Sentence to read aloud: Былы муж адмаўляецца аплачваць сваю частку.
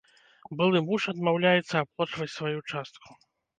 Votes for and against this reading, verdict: 0, 2, rejected